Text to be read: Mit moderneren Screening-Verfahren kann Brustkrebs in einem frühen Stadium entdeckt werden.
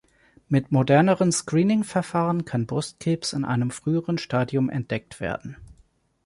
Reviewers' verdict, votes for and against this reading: rejected, 1, 2